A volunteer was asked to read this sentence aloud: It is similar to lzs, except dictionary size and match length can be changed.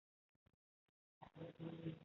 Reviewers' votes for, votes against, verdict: 1, 2, rejected